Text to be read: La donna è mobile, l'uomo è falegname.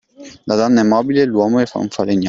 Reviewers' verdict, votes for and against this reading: rejected, 0, 2